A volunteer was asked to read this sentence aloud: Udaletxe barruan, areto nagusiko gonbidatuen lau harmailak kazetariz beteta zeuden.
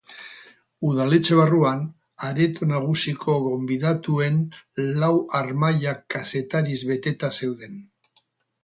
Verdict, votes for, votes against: accepted, 2, 0